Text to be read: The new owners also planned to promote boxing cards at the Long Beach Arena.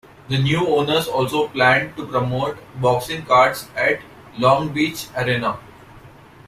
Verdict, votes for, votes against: rejected, 0, 2